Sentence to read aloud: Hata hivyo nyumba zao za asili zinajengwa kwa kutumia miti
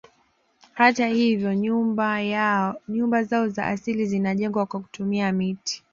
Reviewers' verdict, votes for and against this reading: rejected, 0, 2